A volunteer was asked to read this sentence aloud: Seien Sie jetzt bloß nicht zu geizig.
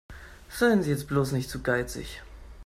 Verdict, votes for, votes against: accepted, 2, 0